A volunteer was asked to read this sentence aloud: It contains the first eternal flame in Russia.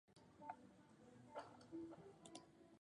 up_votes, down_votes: 0, 2